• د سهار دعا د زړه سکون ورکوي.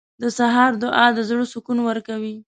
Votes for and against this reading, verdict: 2, 0, accepted